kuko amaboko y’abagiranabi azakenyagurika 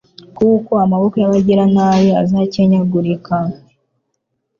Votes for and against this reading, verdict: 3, 0, accepted